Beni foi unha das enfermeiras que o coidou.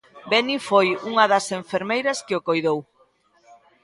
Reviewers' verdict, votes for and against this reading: rejected, 1, 2